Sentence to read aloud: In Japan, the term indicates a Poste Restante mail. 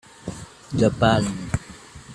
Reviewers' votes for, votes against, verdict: 0, 2, rejected